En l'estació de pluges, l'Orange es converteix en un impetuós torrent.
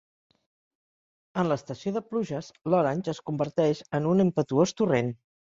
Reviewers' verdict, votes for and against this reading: accepted, 2, 0